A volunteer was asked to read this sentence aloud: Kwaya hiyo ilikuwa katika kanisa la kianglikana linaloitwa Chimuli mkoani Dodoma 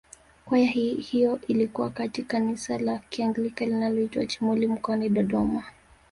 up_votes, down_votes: 2, 1